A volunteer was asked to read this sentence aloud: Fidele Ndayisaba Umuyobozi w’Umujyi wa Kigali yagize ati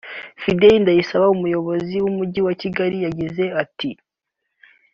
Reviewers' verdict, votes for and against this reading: rejected, 0, 2